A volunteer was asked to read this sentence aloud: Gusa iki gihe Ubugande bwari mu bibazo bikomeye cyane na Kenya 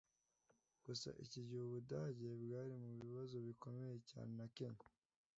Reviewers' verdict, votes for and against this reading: rejected, 1, 2